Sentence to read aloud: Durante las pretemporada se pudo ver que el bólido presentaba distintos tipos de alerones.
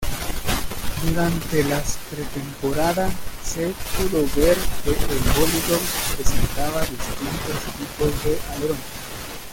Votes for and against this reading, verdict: 1, 2, rejected